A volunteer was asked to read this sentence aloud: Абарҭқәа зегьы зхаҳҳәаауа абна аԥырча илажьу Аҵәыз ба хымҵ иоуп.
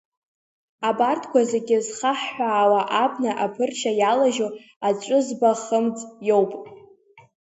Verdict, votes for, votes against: rejected, 0, 2